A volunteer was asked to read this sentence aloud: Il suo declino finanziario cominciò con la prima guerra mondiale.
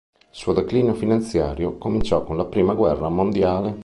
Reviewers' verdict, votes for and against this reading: accepted, 2, 0